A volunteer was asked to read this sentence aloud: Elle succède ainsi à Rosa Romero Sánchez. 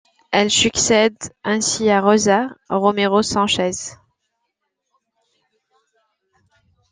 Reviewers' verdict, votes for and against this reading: accepted, 2, 1